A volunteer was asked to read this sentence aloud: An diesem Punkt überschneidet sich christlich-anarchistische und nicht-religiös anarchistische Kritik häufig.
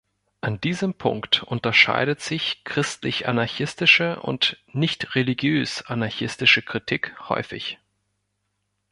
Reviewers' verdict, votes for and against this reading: rejected, 0, 2